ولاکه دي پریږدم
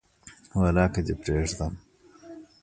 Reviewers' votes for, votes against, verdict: 1, 2, rejected